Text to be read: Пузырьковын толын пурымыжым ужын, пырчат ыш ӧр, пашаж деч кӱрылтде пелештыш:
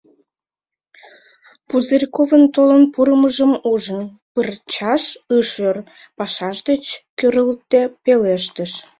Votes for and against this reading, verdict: 0, 2, rejected